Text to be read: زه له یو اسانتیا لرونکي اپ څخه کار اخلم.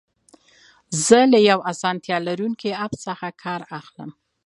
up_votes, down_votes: 2, 0